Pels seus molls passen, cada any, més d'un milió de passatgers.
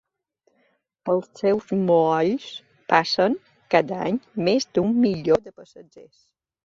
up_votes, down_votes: 2, 0